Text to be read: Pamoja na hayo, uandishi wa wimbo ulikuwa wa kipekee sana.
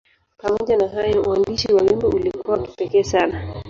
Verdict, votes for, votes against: accepted, 5, 3